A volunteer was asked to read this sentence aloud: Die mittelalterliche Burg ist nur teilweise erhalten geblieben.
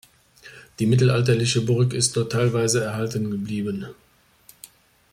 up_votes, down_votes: 2, 0